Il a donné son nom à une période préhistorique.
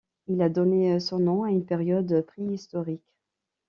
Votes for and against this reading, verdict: 2, 0, accepted